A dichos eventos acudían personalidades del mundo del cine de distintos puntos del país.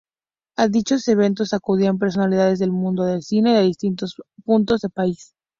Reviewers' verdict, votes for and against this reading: rejected, 0, 2